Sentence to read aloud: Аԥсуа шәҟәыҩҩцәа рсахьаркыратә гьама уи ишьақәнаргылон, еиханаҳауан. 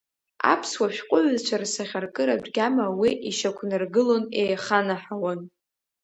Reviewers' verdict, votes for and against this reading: rejected, 1, 2